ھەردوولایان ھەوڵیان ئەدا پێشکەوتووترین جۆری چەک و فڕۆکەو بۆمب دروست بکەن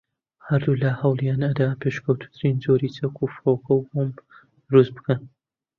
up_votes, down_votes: 0, 2